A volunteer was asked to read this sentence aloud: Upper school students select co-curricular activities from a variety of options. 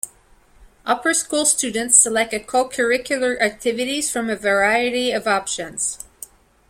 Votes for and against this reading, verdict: 1, 2, rejected